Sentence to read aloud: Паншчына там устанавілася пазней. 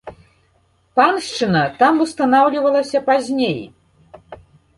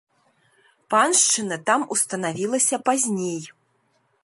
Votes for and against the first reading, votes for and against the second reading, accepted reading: 1, 2, 2, 0, second